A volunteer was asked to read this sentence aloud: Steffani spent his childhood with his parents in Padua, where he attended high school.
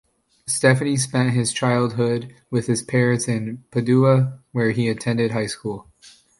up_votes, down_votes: 2, 0